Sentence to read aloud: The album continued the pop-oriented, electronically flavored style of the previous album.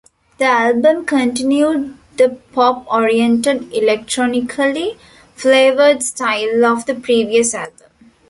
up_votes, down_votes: 2, 1